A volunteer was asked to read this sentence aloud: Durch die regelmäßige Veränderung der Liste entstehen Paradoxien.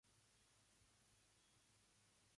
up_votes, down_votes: 0, 2